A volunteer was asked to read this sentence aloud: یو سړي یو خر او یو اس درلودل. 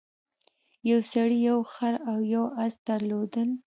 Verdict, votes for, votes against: accepted, 2, 0